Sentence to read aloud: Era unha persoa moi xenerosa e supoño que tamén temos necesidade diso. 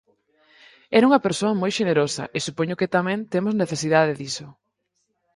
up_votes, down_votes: 4, 0